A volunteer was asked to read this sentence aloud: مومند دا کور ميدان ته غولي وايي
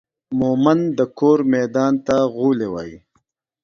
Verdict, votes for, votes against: accepted, 2, 0